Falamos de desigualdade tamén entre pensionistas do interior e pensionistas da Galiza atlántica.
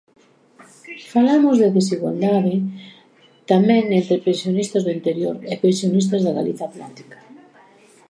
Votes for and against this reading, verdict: 1, 2, rejected